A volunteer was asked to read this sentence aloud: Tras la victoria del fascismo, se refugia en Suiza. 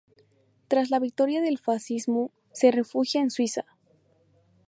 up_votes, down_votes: 0, 2